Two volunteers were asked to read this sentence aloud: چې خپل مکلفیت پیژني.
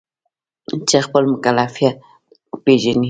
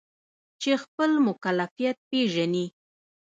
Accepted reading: second